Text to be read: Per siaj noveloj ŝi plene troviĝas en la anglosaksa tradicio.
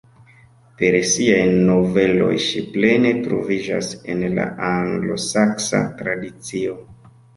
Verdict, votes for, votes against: accepted, 2, 1